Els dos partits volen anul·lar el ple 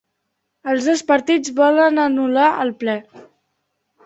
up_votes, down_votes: 2, 0